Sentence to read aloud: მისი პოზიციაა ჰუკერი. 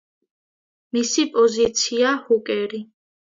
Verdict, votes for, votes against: accepted, 2, 0